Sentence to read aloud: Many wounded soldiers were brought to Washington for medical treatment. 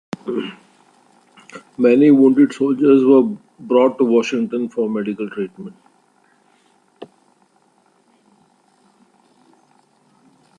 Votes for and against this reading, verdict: 2, 0, accepted